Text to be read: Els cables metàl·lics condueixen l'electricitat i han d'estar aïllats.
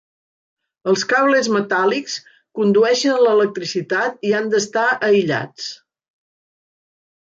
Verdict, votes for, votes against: accepted, 3, 0